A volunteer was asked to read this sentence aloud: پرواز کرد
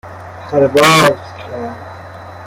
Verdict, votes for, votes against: accepted, 2, 1